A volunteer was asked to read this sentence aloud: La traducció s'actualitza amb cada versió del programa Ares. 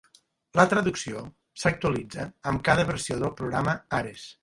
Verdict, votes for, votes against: accepted, 2, 0